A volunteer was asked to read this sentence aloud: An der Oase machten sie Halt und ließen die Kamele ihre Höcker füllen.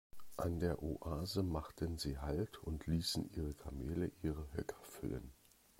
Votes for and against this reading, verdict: 0, 2, rejected